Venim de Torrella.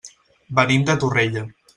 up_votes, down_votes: 3, 0